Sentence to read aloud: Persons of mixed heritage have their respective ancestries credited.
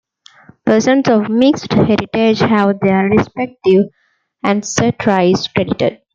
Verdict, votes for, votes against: rejected, 0, 2